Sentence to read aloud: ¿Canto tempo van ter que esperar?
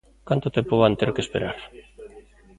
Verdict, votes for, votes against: accepted, 2, 1